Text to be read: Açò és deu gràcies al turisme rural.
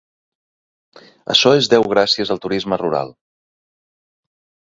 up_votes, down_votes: 2, 0